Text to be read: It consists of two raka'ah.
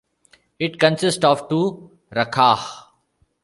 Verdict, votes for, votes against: accepted, 2, 1